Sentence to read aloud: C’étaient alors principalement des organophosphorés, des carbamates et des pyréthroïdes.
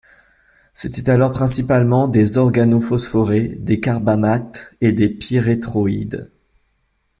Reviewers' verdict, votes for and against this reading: accepted, 2, 0